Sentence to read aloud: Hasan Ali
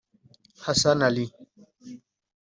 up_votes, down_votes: 2, 0